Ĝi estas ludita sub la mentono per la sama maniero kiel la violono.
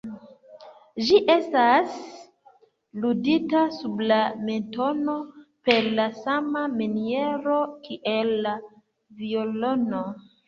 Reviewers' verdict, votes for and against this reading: rejected, 1, 2